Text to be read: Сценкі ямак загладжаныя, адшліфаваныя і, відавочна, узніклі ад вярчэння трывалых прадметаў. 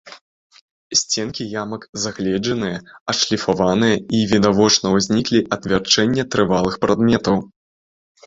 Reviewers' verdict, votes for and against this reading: rejected, 0, 2